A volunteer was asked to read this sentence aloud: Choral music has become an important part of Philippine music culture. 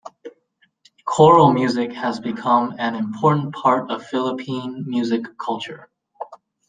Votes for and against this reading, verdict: 2, 0, accepted